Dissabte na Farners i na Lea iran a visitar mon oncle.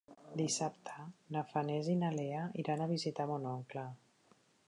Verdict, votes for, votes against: rejected, 1, 2